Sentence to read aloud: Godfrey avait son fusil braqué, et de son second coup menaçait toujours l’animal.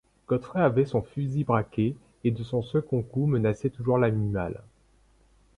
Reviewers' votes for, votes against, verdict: 1, 2, rejected